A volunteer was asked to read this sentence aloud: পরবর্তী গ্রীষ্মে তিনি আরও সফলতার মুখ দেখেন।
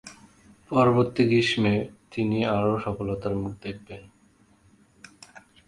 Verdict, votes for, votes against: rejected, 1, 2